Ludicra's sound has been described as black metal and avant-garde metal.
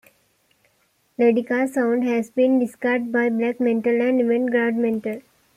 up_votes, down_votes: 1, 2